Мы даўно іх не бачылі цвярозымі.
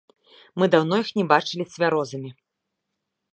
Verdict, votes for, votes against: rejected, 1, 2